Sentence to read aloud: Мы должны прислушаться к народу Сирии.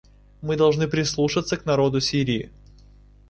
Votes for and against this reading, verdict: 2, 0, accepted